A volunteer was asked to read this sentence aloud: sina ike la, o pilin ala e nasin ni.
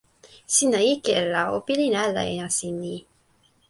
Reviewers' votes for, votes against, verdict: 1, 2, rejected